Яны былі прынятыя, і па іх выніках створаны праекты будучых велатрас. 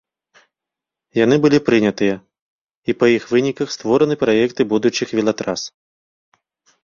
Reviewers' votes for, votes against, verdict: 2, 0, accepted